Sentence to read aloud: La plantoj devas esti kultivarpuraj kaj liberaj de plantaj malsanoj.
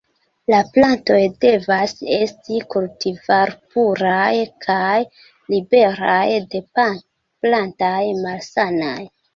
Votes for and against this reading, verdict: 0, 2, rejected